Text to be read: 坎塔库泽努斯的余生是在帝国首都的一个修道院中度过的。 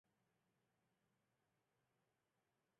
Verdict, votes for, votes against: rejected, 0, 3